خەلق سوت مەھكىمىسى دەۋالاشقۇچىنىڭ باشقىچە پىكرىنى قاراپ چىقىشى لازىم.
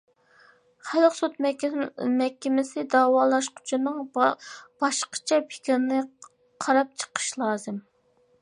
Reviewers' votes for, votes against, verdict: 0, 2, rejected